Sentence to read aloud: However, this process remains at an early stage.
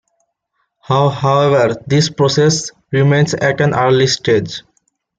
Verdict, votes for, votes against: rejected, 1, 2